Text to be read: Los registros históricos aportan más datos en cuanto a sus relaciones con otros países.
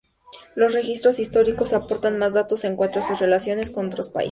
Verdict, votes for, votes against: rejected, 0, 2